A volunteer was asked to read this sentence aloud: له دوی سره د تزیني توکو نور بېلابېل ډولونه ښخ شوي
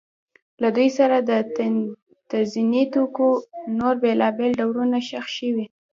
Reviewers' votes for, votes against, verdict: 0, 2, rejected